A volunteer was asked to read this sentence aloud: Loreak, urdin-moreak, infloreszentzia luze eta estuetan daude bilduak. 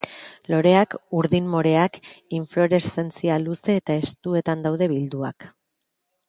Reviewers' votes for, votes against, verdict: 2, 0, accepted